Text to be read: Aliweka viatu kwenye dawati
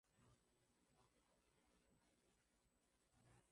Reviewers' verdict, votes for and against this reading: rejected, 1, 12